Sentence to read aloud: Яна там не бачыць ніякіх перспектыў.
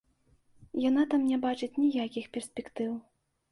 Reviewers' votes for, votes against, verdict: 2, 0, accepted